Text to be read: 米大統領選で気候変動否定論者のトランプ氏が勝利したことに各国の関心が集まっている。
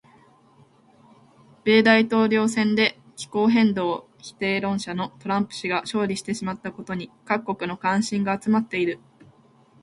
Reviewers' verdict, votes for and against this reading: rejected, 0, 2